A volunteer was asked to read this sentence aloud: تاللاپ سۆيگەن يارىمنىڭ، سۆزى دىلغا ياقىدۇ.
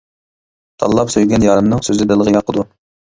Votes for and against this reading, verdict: 2, 0, accepted